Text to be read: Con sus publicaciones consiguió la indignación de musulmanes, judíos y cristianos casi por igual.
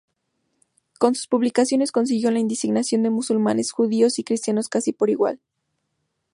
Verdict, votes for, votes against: rejected, 2, 2